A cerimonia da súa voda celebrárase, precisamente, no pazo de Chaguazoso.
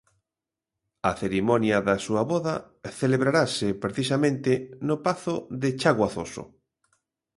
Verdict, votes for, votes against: rejected, 0, 2